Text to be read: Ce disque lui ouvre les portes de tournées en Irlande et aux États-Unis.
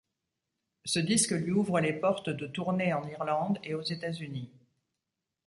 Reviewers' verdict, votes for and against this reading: rejected, 0, 2